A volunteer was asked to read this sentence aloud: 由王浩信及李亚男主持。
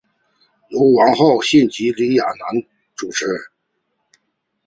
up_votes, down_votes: 2, 0